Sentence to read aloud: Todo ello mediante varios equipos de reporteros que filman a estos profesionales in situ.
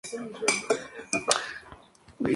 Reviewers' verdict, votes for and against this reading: rejected, 0, 2